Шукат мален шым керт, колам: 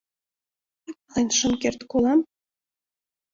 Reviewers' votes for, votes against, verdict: 1, 2, rejected